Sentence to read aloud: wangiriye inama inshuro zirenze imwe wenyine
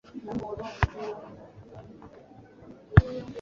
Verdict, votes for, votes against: rejected, 0, 2